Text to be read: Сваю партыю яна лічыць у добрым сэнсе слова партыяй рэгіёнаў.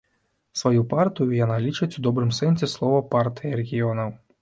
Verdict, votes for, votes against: accepted, 2, 0